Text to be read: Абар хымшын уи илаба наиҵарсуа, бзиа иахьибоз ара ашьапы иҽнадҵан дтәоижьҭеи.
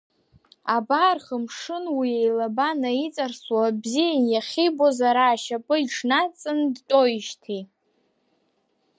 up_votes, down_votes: 2, 1